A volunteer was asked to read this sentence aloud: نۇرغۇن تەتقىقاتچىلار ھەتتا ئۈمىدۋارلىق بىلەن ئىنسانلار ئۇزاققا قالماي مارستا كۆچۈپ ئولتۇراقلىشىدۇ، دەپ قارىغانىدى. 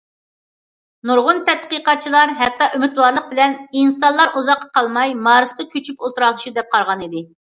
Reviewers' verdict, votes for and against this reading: accepted, 2, 0